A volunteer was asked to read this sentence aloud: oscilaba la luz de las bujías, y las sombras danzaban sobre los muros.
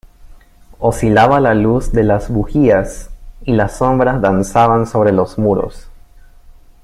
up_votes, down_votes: 2, 0